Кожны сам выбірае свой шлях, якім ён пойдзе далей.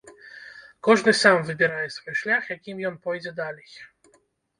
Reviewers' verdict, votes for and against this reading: rejected, 1, 2